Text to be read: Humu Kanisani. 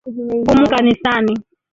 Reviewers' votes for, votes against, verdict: 1, 2, rejected